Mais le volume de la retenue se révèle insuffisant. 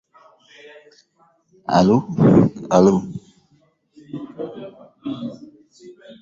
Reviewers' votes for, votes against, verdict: 0, 2, rejected